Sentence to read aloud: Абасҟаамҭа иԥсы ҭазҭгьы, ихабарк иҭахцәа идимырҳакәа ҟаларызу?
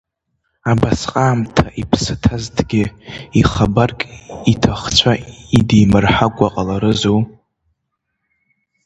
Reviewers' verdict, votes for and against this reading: rejected, 1, 2